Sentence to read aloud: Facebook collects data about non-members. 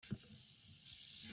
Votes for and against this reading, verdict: 0, 2, rejected